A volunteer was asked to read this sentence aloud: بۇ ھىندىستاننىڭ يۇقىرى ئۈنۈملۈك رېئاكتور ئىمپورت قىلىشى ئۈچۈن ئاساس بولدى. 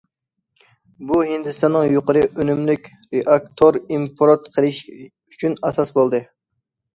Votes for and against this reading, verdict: 2, 1, accepted